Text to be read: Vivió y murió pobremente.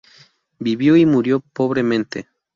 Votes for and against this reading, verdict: 2, 0, accepted